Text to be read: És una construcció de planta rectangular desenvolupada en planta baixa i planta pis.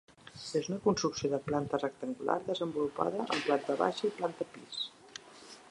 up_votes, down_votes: 1, 2